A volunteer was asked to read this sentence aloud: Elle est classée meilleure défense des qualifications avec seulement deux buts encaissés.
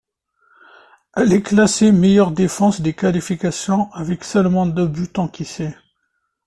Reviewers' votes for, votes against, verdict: 2, 0, accepted